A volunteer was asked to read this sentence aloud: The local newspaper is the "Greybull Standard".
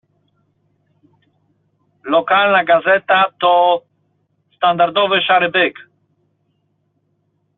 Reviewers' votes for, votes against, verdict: 0, 2, rejected